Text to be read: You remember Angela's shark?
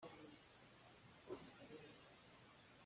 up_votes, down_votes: 0, 2